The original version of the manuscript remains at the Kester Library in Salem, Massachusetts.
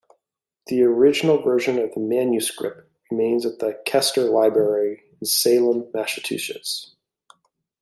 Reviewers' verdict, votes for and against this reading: accepted, 2, 0